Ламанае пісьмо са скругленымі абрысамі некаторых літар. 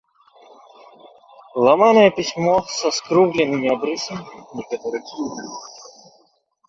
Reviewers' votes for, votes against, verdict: 0, 2, rejected